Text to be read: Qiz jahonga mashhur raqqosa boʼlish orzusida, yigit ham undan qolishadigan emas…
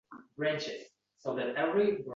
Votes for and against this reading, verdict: 0, 2, rejected